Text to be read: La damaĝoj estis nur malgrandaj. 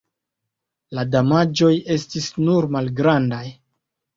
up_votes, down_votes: 2, 1